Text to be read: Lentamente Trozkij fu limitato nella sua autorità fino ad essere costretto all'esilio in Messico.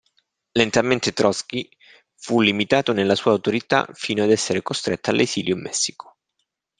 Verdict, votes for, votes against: accepted, 2, 0